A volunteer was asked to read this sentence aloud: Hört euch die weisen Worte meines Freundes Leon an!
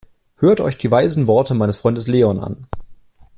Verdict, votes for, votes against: accepted, 2, 0